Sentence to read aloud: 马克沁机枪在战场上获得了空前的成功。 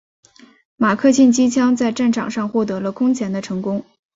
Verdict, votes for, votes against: rejected, 0, 2